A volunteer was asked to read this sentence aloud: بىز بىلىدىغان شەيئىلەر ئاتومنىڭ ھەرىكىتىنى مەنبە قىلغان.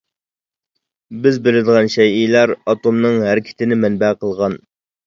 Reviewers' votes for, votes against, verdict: 2, 0, accepted